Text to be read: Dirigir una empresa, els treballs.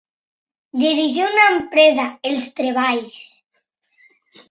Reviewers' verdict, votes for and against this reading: accepted, 3, 0